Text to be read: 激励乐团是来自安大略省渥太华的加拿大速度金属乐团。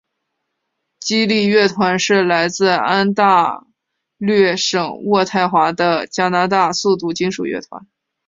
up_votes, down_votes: 3, 0